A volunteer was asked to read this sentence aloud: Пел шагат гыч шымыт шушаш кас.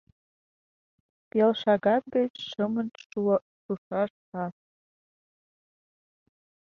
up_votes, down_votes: 0, 2